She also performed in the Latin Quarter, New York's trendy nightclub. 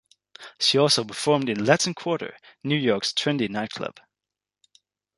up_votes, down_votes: 1, 2